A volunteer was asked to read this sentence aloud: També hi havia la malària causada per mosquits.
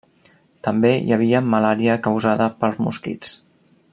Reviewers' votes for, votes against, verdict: 0, 2, rejected